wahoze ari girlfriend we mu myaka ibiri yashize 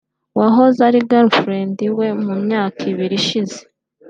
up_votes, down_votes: 2, 1